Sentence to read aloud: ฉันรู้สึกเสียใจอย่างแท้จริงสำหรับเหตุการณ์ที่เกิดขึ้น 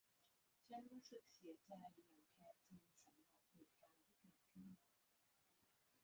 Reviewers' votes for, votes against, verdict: 0, 2, rejected